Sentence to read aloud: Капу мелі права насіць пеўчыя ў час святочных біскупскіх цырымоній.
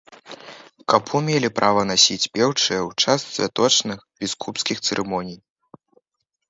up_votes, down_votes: 0, 3